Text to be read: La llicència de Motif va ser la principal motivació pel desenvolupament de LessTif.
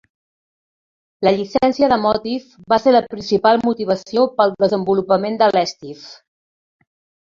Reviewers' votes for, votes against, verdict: 1, 2, rejected